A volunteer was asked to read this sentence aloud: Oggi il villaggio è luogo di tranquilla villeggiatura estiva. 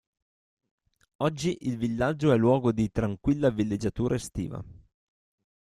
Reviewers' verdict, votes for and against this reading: accepted, 2, 0